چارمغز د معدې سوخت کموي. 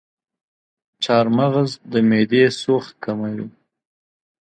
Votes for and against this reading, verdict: 2, 0, accepted